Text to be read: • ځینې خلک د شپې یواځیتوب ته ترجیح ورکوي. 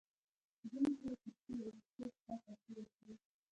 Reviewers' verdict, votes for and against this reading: rejected, 1, 2